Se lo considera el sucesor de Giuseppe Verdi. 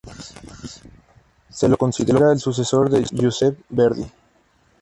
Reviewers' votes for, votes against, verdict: 2, 2, rejected